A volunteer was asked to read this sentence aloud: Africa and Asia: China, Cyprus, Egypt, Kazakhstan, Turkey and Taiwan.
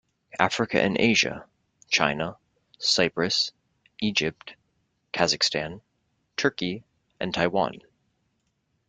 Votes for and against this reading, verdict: 2, 0, accepted